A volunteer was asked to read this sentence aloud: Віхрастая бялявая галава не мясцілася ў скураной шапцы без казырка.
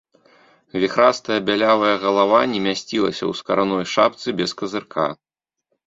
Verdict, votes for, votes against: rejected, 0, 2